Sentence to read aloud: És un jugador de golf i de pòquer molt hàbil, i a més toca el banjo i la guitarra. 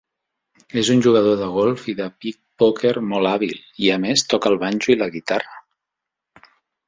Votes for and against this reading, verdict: 0, 2, rejected